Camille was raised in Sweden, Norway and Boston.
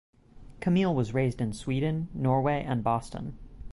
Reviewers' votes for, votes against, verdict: 6, 0, accepted